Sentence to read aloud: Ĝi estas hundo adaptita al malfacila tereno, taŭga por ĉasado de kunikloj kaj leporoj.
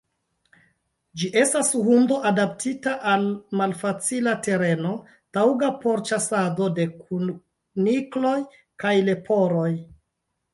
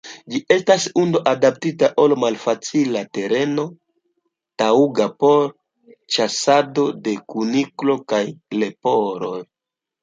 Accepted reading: second